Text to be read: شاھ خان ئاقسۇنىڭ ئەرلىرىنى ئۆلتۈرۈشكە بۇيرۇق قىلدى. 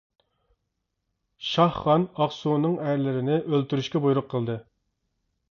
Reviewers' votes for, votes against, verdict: 2, 0, accepted